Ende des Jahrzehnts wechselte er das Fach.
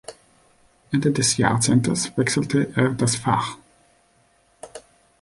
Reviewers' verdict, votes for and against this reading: rejected, 1, 2